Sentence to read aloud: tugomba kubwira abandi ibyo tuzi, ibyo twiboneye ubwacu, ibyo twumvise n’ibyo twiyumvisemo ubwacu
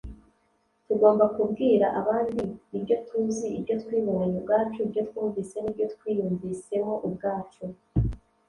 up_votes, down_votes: 1, 2